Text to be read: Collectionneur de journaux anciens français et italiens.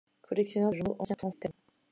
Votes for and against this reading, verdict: 0, 2, rejected